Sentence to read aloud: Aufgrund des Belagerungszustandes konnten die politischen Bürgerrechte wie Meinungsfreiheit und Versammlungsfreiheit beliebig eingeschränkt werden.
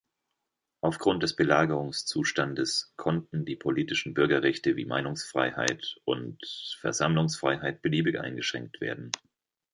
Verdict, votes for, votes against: accepted, 2, 0